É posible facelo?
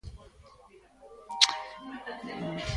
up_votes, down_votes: 0, 2